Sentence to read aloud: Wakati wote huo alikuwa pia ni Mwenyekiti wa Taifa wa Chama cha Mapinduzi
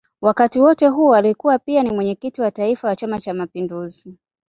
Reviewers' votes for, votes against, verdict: 2, 0, accepted